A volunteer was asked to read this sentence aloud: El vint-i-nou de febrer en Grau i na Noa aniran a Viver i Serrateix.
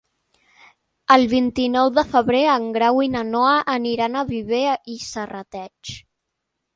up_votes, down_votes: 0, 2